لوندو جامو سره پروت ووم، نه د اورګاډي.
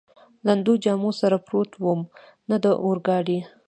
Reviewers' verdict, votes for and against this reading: accepted, 2, 1